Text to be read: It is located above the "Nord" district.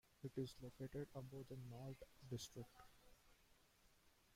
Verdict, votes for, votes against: accepted, 2, 1